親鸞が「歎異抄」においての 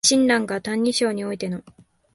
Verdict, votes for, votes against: accepted, 2, 0